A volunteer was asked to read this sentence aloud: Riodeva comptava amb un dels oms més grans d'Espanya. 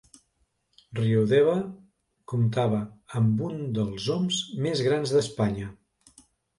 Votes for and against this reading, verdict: 2, 0, accepted